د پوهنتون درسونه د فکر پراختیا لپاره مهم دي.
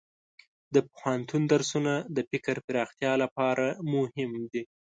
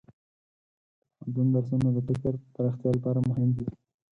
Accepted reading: first